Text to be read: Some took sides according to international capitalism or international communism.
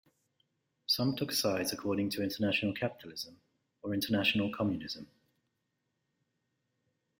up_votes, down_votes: 2, 0